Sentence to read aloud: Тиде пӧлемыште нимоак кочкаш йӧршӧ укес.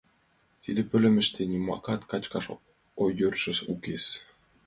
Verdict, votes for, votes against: rejected, 0, 2